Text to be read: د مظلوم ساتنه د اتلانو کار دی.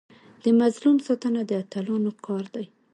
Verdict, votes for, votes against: accepted, 2, 0